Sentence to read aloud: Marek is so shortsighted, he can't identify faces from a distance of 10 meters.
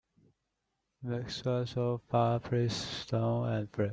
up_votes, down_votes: 0, 2